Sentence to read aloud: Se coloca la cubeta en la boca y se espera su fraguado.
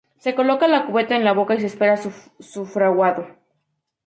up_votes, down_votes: 2, 0